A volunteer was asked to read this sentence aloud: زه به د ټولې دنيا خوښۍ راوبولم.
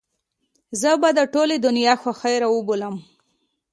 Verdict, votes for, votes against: accepted, 2, 0